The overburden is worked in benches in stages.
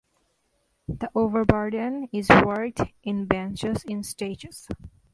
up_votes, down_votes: 2, 0